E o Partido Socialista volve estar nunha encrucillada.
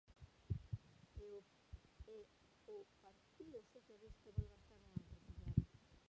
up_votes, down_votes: 0, 2